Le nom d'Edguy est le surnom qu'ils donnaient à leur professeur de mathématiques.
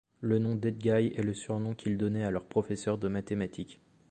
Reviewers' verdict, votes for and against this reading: accepted, 2, 0